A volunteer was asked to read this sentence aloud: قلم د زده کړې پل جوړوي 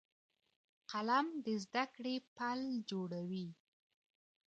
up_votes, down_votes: 2, 0